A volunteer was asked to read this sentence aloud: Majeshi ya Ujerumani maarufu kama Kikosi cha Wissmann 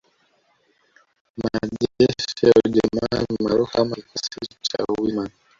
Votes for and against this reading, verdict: 0, 2, rejected